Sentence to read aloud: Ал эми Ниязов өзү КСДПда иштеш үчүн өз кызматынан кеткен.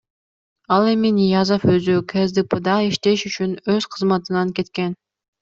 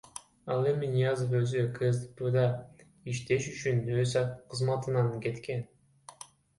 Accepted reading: first